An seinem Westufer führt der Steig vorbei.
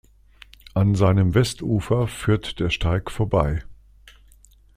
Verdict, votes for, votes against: accepted, 2, 0